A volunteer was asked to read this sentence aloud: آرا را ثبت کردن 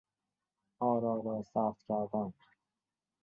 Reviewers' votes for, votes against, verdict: 1, 2, rejected